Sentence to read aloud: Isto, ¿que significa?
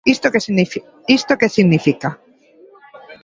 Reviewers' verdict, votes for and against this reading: rejected, 0, 2